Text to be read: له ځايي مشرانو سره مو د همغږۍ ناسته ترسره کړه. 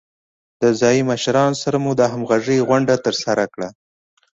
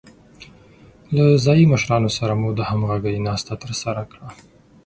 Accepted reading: second